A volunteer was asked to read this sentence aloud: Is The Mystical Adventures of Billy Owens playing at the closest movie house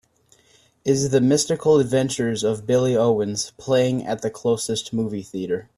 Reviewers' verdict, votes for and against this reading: rejected, 0, 2